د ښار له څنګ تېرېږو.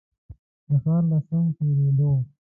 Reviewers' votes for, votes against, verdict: 1, 2, rejected